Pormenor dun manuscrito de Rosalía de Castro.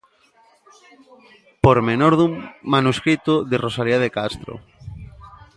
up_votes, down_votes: 0, 2